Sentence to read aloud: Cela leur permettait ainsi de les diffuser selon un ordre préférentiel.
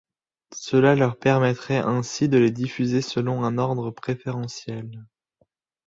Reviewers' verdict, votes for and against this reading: rejected, 0, 2